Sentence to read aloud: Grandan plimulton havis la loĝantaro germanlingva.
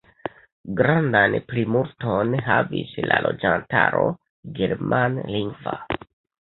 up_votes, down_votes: 0, 2